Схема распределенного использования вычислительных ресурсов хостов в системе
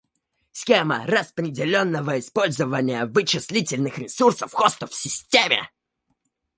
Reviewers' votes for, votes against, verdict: 2, 1, accepted